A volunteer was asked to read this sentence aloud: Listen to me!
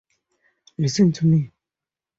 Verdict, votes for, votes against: accepted, 4, 0